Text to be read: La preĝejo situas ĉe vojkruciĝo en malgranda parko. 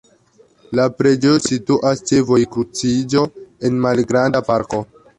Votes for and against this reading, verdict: 0, 2, rejected